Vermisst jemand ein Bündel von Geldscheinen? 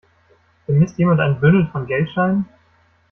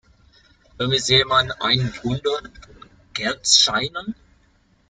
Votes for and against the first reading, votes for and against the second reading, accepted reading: 2, 1, 0, 2, first